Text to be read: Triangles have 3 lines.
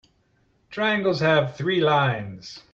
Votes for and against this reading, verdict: 0, 2, rejected